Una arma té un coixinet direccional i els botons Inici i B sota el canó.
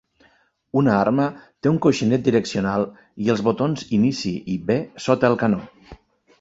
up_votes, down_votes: 2, 0